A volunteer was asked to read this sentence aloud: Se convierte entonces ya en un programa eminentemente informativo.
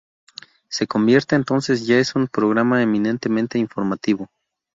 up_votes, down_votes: 0, 4